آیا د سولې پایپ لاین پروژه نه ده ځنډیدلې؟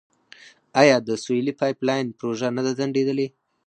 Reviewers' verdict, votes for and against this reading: accepted, 4, 0